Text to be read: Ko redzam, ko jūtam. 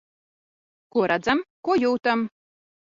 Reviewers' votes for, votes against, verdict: 2, 0, accepted